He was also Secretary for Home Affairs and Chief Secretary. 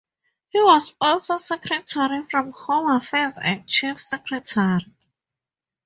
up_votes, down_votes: 2, 0